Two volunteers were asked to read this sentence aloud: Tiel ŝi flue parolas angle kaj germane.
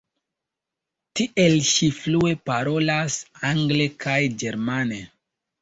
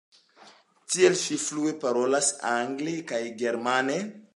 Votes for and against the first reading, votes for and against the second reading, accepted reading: 0, 2, 2, 0, second